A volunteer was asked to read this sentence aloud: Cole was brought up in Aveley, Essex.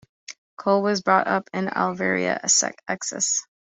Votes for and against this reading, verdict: 1, 2, rejected